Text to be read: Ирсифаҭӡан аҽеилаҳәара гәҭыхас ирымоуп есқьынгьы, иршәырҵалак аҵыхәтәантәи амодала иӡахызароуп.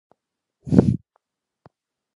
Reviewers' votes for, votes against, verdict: 1, 2, rejected